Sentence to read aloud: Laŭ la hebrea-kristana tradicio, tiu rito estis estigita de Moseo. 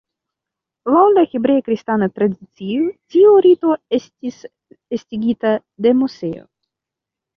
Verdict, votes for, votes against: rejected, 0, 2